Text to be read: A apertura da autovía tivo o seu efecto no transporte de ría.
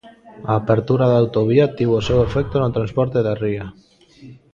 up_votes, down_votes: 0, 2